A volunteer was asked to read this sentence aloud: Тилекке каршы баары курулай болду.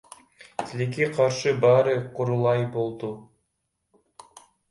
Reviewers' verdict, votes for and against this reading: rejected, 1, 2